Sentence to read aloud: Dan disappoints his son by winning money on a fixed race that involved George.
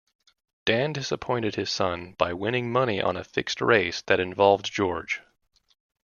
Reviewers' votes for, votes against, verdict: 0, 2, rejected